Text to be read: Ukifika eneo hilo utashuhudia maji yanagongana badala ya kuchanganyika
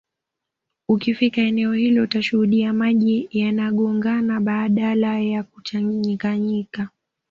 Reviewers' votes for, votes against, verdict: 1, 2, rejected